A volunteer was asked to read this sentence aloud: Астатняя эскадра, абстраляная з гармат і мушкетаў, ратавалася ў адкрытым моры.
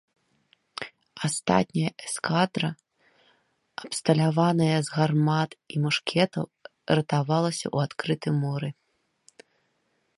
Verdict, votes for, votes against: rejected, 0, 2